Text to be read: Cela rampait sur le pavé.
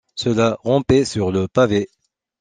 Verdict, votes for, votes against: accepted, 2, 0